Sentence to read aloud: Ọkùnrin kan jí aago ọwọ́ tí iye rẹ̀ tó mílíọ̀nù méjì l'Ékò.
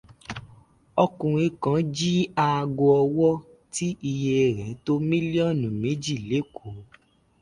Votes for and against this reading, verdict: 2, 0, accepted